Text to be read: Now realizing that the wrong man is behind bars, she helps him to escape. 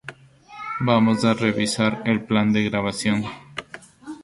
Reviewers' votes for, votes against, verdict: 0, 2, rejected